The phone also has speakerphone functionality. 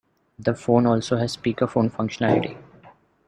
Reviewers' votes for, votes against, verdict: 2, 0, accepted